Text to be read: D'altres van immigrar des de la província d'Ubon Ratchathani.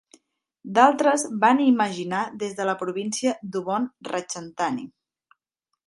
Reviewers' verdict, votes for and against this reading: rejected, 0, 2